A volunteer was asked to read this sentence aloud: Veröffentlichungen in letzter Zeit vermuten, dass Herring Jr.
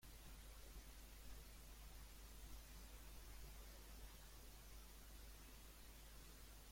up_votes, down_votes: 0, 2